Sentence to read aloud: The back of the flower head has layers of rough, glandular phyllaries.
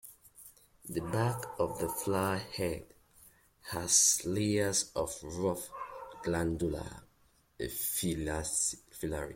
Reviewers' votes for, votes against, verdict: 1, 2, rejected